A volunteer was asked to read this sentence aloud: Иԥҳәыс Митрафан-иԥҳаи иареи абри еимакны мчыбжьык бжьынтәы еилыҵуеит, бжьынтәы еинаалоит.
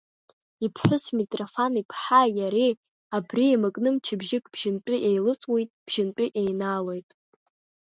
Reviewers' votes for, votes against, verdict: 1, 2, rejected